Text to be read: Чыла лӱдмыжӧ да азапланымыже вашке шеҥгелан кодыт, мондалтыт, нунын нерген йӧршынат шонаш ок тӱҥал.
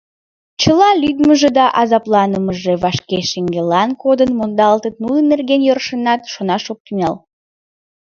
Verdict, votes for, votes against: rejected, 0, 2